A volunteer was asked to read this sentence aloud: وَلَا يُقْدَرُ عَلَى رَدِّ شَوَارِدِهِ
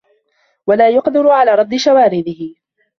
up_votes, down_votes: 2, 1